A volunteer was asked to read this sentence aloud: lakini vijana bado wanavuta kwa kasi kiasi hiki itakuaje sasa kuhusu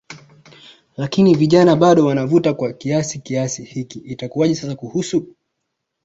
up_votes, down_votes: 2, 0